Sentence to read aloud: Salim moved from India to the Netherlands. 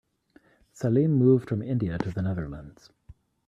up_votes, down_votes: 3, 0